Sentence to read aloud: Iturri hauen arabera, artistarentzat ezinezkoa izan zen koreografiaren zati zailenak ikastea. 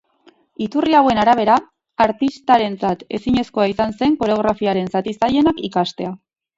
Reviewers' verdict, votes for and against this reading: rejected, 2, 2